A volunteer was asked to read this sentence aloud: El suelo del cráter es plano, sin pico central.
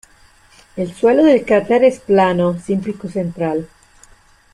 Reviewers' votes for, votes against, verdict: 1, 2, rejected